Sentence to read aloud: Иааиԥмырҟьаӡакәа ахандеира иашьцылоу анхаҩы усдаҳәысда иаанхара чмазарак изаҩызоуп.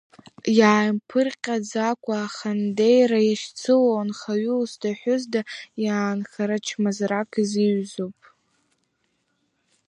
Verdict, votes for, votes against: rejected, 1, 4